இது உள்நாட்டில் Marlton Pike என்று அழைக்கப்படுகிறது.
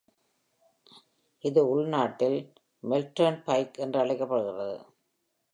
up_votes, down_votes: 2, 0